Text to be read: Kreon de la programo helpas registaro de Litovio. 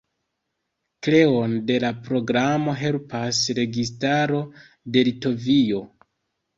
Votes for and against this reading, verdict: 2, 1, accepted